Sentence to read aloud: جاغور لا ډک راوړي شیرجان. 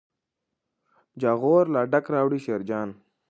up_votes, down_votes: 2, 0